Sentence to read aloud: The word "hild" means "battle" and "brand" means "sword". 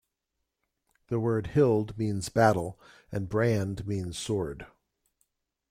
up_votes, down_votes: 2, 0